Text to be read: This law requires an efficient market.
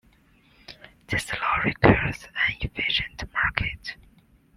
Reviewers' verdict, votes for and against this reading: accepted, 2, 1